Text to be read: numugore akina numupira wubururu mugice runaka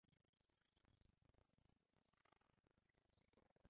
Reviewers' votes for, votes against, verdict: 0, 2, rejected